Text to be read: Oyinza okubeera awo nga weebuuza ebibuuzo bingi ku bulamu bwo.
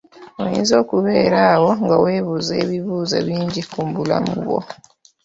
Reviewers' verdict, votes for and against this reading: accepted, 2, 1